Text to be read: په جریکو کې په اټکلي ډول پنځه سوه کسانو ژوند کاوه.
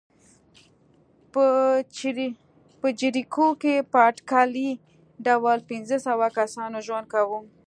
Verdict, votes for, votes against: accepted, 2, 0